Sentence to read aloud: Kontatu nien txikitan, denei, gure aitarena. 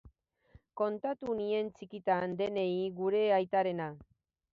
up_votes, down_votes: 2, 0